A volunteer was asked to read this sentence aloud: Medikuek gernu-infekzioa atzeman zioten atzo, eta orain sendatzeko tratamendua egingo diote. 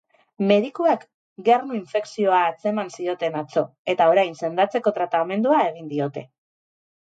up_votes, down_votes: 0, 2